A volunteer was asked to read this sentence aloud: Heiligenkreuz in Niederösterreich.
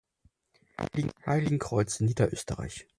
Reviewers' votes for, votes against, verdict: 0, 4, rejected